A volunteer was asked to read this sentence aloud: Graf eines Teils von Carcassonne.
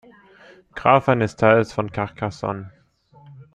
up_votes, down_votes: 2, 0